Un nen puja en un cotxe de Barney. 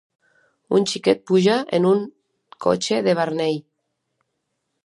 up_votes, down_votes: 0, 2